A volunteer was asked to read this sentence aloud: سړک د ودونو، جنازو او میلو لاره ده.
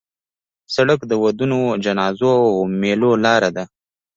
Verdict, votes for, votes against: rejected, 1, 2